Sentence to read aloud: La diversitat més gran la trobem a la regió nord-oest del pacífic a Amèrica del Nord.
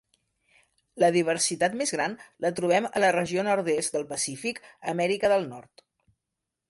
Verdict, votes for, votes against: rejected, 1, 2